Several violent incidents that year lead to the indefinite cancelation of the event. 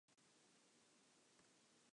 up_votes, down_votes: 0, 2